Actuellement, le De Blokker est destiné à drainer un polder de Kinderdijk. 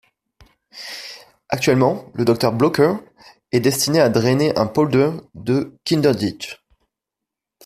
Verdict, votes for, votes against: rejected, 0, 2